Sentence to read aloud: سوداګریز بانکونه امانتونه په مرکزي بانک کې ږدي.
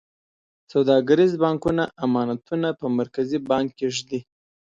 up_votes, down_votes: 3, 0